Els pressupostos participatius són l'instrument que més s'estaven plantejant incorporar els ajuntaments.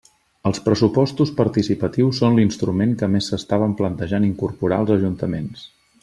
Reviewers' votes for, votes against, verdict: 3, 0, accepted